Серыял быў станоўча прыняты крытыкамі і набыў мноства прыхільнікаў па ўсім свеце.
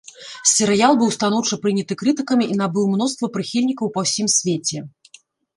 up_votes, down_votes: 0, 3